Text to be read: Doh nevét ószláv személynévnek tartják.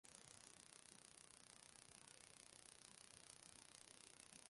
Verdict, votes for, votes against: rejected, 0, 2